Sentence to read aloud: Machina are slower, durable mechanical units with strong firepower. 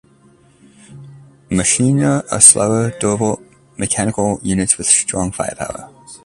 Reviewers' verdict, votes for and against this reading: accepted, 2, 0